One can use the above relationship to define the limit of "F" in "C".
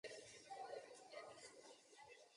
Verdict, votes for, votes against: rejected, 0, 2